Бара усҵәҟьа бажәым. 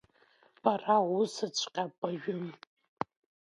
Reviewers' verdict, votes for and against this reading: accepted, 2, 0